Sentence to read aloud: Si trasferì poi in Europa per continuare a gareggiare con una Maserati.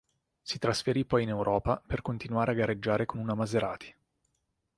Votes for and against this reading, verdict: 4, 0, accepted